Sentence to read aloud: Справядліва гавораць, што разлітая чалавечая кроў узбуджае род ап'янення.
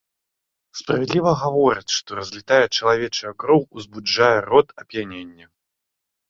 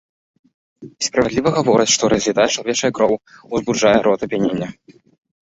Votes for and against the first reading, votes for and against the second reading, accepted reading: 2, 0, 0, 2, first